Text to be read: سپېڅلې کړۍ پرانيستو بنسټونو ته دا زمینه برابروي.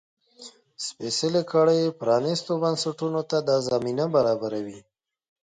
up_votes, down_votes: 2, 0